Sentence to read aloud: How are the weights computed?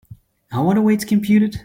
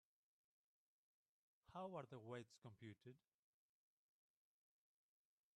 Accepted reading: first